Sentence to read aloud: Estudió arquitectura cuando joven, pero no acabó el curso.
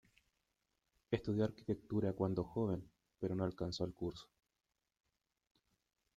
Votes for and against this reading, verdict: 1, 2, rejected